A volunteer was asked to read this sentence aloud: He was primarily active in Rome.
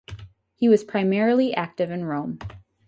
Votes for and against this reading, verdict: 2, 0, accepted